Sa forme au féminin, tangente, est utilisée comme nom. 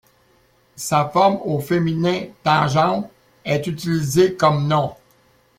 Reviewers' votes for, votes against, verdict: 1, 2, rejected